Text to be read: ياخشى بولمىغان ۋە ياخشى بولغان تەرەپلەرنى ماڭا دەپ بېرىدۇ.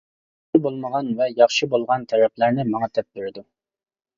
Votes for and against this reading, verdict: 0, 2, rejected